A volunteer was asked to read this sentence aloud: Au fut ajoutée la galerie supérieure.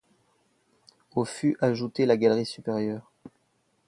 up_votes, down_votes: 2, 0